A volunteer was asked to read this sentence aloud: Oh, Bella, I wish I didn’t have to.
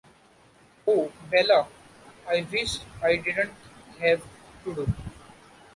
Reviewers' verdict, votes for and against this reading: rejected, 0, 2